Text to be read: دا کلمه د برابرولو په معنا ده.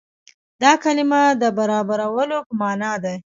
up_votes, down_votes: 2, 0